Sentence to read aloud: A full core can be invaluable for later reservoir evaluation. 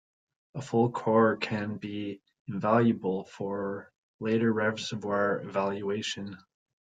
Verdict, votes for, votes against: accepted, 2, 1